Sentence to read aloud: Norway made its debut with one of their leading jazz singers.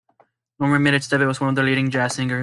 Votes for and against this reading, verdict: 0, 2, rejected